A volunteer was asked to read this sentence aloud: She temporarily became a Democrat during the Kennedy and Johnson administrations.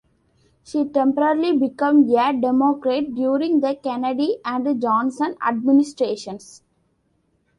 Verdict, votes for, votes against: rejected, 1, 2